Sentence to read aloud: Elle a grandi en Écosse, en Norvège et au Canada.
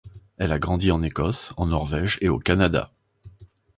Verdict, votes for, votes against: accepted, 2, 0